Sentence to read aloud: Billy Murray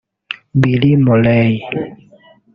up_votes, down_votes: 1, 2